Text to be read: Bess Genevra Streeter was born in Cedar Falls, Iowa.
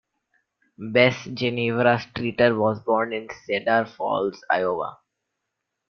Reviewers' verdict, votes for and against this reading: rejected, 0, 3